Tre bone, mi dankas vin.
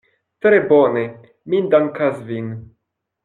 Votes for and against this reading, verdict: 2, 0, accepted